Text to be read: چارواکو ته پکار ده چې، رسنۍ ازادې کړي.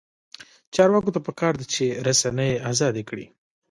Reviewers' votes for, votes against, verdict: 1, 2, rejected